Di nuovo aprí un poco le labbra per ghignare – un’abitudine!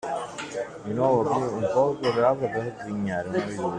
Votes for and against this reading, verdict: 0, 2, rejected